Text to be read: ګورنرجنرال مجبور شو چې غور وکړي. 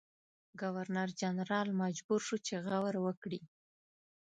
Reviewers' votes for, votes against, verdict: 2, 0, accepted